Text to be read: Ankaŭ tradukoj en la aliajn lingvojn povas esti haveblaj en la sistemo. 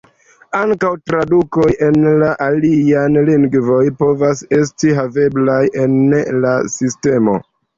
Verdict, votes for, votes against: rejected, 0, 2